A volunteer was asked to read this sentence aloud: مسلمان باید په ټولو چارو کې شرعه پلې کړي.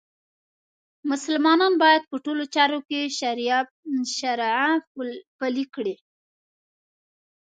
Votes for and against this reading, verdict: 1, 2, rejected